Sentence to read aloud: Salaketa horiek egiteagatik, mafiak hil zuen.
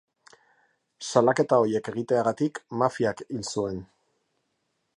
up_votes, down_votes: 2, 1